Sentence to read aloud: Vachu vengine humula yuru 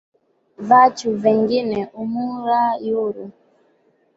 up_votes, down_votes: 2, 0